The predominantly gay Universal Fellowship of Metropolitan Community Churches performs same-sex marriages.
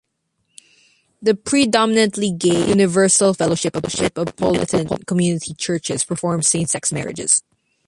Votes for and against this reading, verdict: 0, 2, rejected